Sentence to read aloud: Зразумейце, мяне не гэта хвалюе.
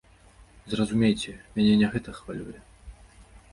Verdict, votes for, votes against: accepted, 2, 0